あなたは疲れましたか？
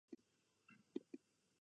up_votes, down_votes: 1, 2